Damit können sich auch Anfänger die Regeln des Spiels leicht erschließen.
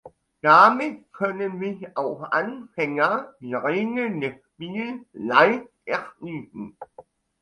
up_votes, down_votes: 2, 0